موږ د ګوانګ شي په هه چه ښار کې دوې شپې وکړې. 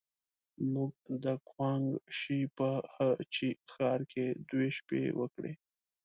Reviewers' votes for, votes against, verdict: 0, 2, rejected